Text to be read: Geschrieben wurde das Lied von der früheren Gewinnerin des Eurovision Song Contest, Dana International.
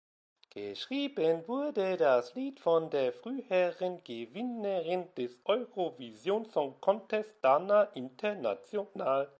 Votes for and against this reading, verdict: 1, 2, rejected